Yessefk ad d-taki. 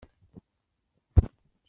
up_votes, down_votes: 0, 2